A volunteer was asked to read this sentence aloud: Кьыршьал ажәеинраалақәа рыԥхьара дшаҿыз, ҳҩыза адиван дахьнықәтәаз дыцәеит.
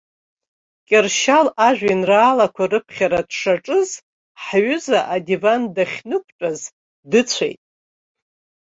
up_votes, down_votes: 2, 0